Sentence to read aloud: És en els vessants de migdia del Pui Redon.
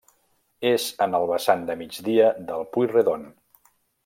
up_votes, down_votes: 0, 2